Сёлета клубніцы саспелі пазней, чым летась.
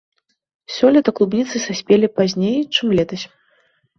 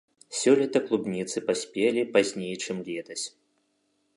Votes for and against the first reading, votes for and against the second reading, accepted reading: 2, 0, 1, 2, first